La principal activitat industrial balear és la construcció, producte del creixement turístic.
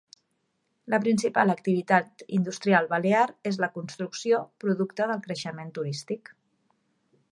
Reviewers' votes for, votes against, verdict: 3, 0, accepted